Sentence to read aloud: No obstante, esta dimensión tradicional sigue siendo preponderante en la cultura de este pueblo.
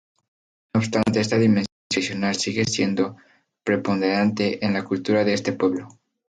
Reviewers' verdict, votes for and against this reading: rejected, 0, 2